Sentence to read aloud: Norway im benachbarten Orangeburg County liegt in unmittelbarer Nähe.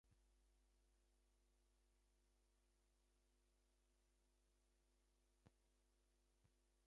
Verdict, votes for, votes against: rejected, 0, 2